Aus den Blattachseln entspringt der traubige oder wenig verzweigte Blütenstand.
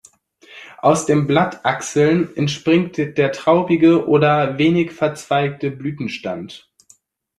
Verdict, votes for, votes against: accepted, 2, 0